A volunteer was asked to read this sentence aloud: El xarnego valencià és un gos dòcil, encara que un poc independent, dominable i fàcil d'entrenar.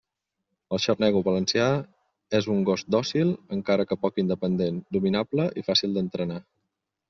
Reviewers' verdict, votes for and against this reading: rejected, 1, 2